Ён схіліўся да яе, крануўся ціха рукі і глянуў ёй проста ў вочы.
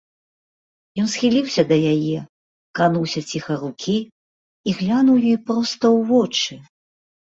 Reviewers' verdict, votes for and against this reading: accepted, 2, 0